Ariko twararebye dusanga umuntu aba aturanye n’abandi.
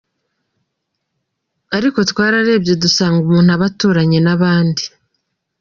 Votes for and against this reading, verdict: 2, 0, accepted